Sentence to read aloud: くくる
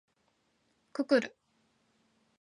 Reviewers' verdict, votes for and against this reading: accepted, 2, 1